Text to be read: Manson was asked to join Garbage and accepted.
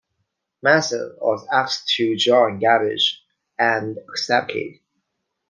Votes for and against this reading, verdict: 0, 2, rejected